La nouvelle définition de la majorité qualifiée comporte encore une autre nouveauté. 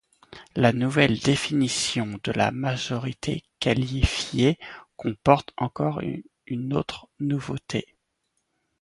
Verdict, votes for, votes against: accepted, 2, 0